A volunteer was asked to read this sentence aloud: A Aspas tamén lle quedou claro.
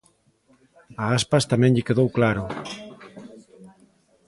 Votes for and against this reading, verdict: 4, 0, accepted